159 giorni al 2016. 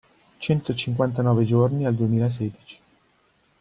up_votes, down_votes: 0, 2